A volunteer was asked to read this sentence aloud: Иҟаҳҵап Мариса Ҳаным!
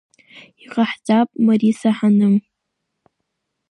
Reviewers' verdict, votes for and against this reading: accepted, 2, 0